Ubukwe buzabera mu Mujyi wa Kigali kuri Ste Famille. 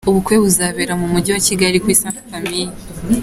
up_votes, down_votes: 2, 0